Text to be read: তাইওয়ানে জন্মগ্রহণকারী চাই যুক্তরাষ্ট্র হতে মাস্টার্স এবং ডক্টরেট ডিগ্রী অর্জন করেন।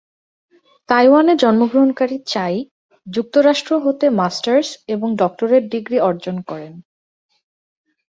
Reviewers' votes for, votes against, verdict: 4, 1, accepted